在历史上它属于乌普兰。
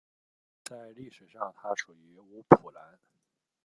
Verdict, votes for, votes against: rejected, 0, 2